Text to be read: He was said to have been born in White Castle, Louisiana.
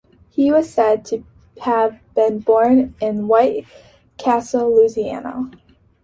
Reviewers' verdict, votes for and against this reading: accepted, 3, 0